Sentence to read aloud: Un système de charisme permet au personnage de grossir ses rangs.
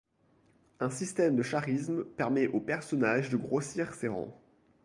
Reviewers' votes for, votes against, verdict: 0, 2, rejected